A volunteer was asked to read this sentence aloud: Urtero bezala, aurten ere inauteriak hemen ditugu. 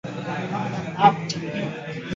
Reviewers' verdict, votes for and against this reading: rejected, 0, 2